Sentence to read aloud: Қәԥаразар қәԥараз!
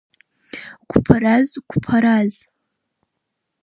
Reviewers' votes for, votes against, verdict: 1, 2, rejected